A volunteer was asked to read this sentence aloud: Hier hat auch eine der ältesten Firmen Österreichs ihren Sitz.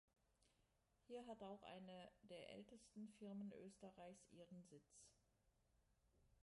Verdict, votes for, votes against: rejected, 1, 2